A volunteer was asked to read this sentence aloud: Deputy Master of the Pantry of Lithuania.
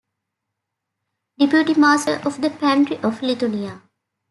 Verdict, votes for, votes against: rejected, 1, 2